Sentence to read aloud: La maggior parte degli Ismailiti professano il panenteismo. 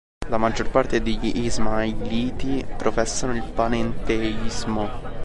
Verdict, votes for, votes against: rejected, 1, 2